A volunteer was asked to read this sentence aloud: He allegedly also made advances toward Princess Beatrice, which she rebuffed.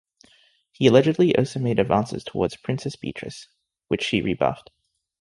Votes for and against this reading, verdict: 2, 0, accepted